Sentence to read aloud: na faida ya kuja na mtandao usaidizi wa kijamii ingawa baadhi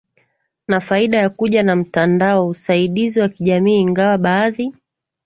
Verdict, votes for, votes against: accepted, 2, 0